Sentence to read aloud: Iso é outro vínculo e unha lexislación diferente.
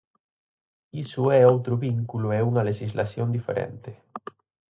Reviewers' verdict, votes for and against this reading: accepted, 4, 0